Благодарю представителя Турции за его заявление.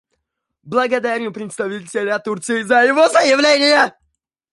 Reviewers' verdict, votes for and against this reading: rejected, 1, 2